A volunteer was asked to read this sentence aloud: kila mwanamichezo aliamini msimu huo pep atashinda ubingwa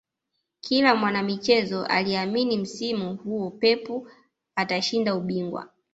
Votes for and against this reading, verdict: 0, 2, rejected